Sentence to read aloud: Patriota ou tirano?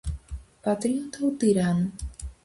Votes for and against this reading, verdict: 4, 0, accepted